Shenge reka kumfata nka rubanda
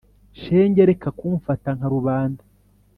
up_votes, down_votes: 3, 0